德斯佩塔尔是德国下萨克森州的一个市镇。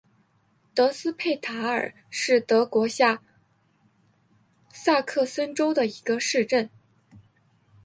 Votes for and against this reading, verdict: 2, 1, accepted